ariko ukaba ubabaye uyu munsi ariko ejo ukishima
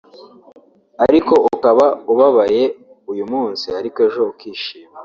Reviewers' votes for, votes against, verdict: 2, 1, accepted